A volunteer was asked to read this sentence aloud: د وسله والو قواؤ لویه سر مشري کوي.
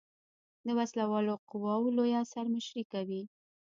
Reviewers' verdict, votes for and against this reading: rejected, 0, 2